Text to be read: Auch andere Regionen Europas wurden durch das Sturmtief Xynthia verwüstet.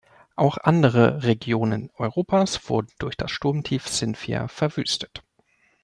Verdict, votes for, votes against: accepted, 2, 0